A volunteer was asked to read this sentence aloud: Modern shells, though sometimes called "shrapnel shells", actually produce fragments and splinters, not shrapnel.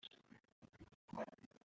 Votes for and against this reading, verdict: 0, 2, rejected